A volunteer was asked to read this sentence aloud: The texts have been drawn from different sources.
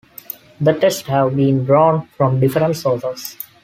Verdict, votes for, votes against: accepted, 2, 1